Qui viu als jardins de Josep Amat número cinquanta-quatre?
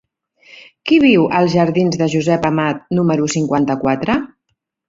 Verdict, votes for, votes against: accepted, 2, 0